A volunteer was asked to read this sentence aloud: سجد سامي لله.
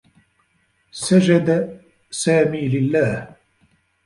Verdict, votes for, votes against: rejected, 1, 2